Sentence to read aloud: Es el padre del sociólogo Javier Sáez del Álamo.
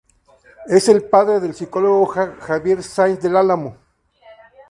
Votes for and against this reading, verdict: 0, 2, rejected